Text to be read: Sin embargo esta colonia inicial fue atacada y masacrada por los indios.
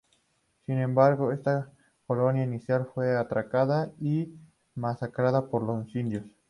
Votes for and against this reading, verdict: 2, 2, rejected